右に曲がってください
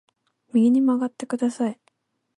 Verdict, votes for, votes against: accepted, 4, 0